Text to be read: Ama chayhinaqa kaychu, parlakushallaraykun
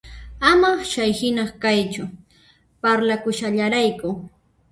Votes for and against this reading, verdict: 0, 2, rejected